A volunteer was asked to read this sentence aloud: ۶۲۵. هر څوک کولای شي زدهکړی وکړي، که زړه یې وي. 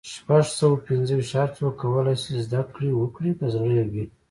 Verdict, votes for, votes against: rejected, 0, 2